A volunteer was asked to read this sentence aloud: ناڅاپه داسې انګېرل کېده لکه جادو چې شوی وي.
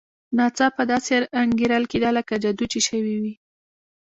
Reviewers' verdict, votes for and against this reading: accepted, 2, 1